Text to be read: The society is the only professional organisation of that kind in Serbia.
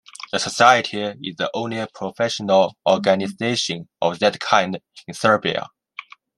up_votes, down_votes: 2, 0